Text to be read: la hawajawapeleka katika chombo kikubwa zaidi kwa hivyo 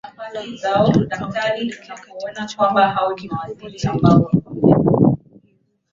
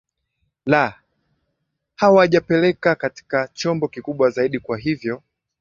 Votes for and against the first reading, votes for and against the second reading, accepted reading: 0, 2, 2, 0, second